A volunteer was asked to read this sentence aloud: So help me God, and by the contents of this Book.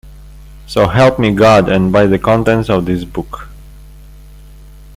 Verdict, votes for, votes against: accepted, 2, 0